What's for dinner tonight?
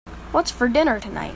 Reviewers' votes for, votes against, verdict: 3, 0, accepted